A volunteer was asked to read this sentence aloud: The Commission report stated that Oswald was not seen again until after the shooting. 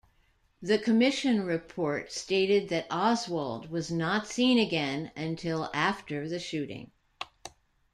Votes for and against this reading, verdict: 2, 1, accepted